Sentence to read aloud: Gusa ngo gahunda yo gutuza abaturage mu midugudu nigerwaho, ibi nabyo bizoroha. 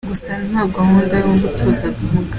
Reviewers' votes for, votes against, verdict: 0, 3, rejected